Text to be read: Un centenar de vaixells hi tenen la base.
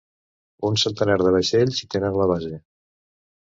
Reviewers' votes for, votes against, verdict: 1, 2, rejected